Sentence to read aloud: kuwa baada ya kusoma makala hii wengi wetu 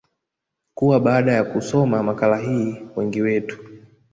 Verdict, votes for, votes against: rejected, 0, 2